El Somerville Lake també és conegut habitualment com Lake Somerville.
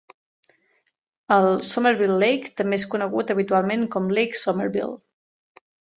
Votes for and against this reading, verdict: 3, 0, accepted